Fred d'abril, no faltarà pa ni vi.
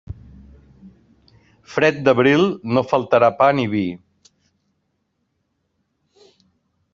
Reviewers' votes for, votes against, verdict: 2, 0, accepted